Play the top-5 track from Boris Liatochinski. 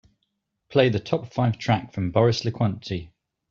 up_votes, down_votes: 0, 2